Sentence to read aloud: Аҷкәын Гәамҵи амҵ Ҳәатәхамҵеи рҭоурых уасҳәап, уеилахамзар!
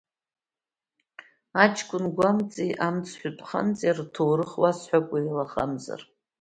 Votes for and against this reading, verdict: 0, 2, rejected